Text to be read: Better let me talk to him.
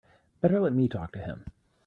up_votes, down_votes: 3, 0